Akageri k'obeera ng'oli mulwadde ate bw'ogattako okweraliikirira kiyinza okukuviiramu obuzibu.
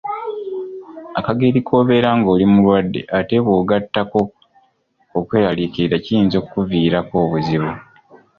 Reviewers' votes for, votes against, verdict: 2, 3, rejected